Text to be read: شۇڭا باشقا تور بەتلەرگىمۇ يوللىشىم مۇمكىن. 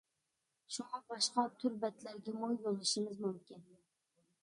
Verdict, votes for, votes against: rejected, 0, 2